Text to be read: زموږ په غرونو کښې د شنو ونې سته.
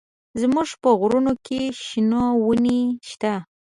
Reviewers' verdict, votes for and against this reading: accepted, 2, 0